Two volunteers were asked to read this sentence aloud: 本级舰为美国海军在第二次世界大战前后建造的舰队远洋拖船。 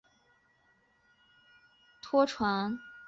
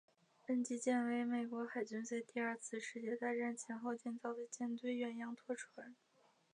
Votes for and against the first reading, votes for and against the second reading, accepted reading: 1, 6, 2, 1, second